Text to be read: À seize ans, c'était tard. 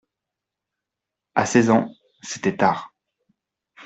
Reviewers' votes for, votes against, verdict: 2, 0, accepted